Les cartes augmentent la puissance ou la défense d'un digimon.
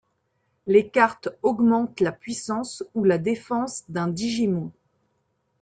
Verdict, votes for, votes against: rejected, 0, 2